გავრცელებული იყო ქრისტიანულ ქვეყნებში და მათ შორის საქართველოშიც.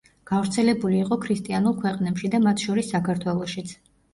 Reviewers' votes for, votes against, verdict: 2, 0, accepted